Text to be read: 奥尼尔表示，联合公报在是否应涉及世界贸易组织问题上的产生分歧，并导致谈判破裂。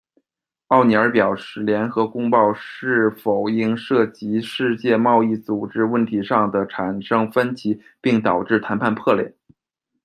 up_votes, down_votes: 0, 2